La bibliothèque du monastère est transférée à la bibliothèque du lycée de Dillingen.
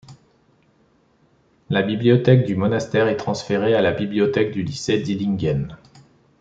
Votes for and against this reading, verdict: 0, 2, rejected